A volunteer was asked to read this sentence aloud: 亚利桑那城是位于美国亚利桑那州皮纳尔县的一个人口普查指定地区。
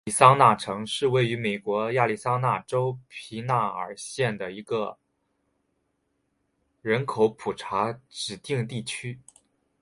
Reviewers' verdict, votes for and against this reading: accepted, 3, 0